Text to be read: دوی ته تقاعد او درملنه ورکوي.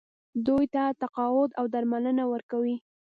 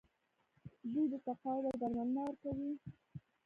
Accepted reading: first